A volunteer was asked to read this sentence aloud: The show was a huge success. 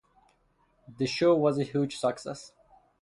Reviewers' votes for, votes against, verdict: 2, 0, accepted